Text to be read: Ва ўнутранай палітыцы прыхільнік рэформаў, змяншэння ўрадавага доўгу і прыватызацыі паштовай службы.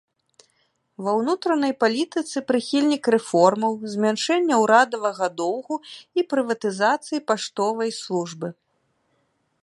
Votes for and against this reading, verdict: 2, 0, accepted